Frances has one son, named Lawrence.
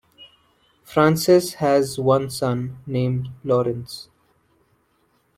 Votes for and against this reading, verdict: 2, 0, accepted